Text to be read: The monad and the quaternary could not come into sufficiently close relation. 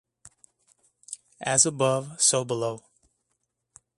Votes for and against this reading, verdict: 0, 2, rejected